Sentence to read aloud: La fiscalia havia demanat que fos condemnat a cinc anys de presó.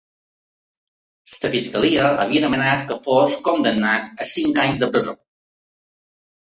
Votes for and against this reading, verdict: 2, 3, rejected